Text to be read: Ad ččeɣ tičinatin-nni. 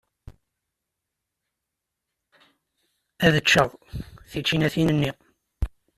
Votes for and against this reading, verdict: 2, 0, accepted